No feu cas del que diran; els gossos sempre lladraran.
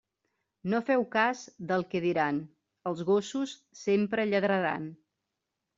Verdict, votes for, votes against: rejected, 0, 2